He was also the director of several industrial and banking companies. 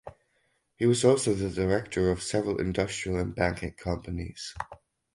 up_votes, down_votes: 4, 0